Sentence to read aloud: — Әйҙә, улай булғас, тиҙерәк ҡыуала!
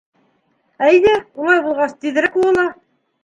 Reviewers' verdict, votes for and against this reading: rejected, 1, 3